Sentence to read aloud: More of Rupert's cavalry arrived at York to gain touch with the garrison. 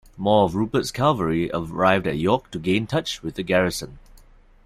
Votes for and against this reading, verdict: 2, 0, accepted